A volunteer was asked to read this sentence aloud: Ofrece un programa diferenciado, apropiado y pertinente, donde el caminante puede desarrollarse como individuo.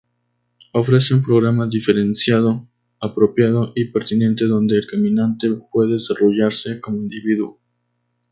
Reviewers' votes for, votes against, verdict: 2, 0, accepted